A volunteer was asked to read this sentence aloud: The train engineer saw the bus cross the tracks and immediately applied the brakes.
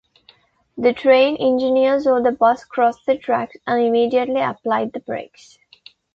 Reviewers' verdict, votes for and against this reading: accepted, 2, 0